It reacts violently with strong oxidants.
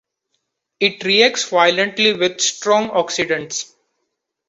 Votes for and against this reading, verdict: 2, 0, accepted